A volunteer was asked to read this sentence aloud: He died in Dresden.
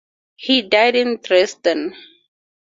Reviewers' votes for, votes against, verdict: 2, 0, accepted